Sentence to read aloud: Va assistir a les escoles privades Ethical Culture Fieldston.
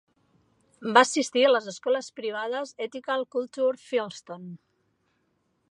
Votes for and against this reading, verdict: 3, 0, accepted